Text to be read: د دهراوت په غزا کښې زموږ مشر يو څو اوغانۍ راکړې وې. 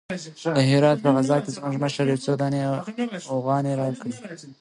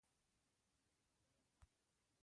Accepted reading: first